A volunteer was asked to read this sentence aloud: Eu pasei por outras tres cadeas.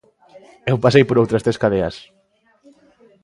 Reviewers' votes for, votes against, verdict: 2, 0, accepted